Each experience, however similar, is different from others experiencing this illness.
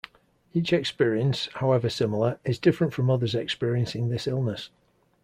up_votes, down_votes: 2, 0